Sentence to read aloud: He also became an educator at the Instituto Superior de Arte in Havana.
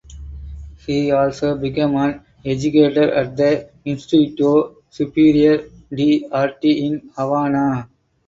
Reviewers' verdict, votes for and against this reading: rejected, 2, 2